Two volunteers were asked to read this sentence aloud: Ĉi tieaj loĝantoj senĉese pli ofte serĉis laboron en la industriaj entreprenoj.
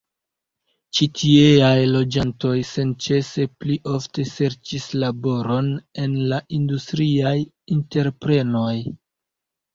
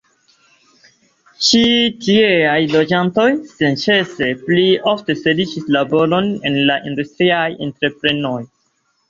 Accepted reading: second